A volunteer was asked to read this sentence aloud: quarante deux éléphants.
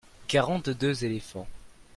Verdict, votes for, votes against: accepted, 2, 0